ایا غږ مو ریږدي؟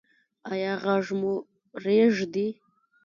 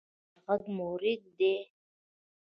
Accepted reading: second